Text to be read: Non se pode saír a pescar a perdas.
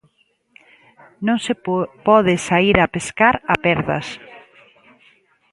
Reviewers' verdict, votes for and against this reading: rejected, 0, 2